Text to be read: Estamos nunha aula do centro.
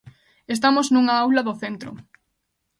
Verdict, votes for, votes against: accepted, 2, 0